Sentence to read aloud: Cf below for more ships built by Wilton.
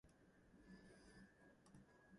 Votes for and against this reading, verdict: 1, 2, rejected